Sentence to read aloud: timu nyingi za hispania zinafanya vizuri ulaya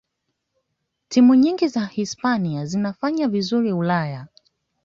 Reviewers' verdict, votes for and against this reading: accepted, 2, 0